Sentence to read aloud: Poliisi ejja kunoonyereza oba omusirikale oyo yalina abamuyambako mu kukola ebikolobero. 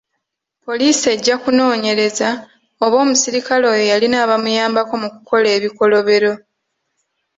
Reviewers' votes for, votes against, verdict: 2, 1, accepted